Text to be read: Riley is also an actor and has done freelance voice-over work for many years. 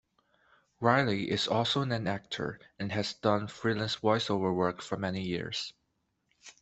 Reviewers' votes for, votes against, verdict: 1, 2, rejected